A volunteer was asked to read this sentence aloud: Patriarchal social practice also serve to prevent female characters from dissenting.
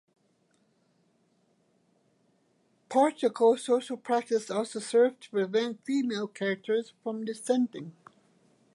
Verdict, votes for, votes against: accepted, 2, 0